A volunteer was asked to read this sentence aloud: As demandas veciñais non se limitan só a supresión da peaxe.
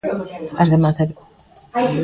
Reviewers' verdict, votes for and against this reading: rejected, 0, 2